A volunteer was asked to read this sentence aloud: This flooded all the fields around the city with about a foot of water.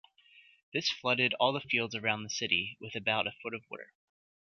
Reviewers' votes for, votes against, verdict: 2, 0, accepted